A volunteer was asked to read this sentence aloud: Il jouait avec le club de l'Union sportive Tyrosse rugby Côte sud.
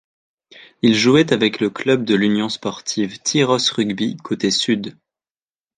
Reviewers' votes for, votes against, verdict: 0, 2, rejected